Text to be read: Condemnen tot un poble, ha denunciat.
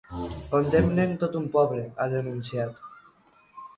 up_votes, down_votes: 2, 0